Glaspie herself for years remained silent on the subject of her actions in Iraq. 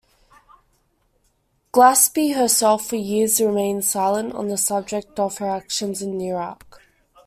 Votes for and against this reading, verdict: 2, 0, accepted